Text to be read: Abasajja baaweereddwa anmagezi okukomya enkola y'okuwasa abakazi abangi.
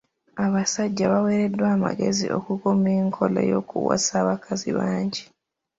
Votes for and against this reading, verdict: 0, 2, rejected